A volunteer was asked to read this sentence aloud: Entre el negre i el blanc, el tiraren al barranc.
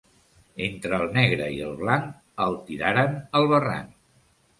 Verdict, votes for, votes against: accepted, 2, 0